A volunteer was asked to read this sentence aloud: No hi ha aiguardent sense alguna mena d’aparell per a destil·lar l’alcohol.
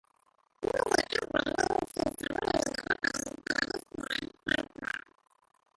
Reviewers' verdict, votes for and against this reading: rejected, 0, 2